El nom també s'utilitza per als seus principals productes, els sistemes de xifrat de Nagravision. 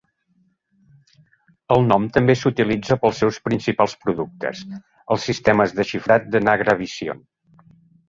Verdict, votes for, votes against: rejected, 1, 2